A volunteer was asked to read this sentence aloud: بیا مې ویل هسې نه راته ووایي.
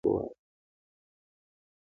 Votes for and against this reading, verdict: 2, 0, accepted